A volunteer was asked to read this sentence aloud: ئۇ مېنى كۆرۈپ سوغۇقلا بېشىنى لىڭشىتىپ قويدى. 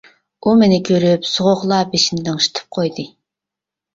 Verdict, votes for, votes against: accepted, 2, 0